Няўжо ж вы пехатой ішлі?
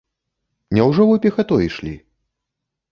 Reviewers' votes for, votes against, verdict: 1, 3, rejected